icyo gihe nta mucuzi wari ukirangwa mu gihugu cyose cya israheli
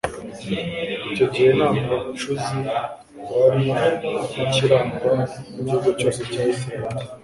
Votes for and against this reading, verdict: 2, 1, accepted